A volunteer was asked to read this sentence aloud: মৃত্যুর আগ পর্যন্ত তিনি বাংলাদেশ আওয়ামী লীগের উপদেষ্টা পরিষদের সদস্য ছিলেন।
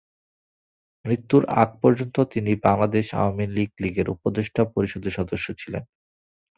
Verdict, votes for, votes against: accepted, 2, 0